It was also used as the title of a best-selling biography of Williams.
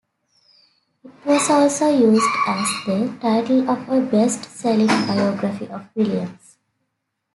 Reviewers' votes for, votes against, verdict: 2, 0, accepted